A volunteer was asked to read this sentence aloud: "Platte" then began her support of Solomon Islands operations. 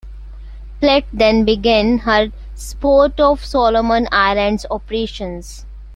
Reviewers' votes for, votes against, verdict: 1, 2, rejected